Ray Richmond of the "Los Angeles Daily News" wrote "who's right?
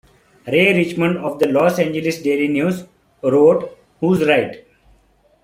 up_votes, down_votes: 2, 1